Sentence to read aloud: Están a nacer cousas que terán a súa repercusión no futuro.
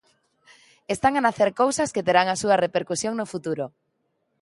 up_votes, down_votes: 2, 0